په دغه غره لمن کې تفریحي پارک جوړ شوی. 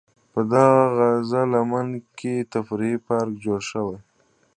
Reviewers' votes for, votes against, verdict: 1, 2, rejected